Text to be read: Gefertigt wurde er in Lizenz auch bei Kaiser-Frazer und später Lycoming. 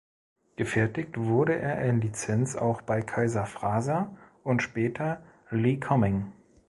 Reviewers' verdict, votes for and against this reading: rejected, 0, 2